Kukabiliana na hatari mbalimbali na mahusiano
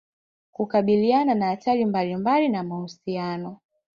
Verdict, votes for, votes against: accepted, 2, 0